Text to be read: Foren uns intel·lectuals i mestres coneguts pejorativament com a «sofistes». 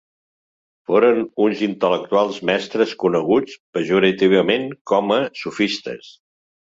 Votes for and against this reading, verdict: 0, 2, rejected